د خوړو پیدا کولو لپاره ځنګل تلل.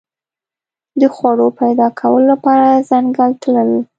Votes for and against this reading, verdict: 2, 0, accepted